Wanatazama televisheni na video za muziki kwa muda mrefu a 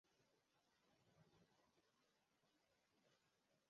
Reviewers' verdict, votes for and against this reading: rejected, 0, 2